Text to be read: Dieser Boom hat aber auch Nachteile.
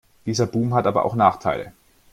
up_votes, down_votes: 2, 1